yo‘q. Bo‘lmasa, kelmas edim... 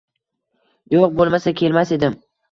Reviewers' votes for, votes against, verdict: 1, 2, rejected